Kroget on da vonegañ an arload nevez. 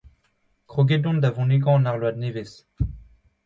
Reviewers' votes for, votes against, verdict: 2, 0, accepted